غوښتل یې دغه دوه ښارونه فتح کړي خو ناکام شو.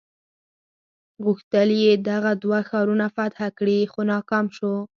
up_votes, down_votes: 6, 0